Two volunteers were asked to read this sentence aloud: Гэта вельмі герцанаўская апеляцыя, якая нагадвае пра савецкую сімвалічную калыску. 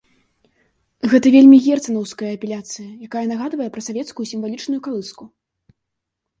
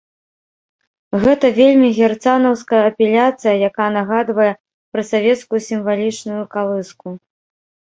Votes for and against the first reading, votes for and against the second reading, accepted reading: 2, 0, 0, 2, first